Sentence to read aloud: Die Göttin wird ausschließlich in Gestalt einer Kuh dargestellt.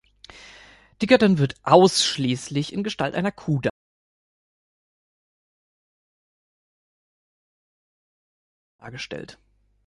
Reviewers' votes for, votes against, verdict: 1, 3, rejected